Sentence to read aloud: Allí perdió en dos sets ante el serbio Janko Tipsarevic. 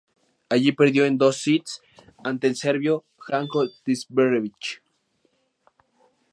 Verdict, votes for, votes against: rejected, 2, 2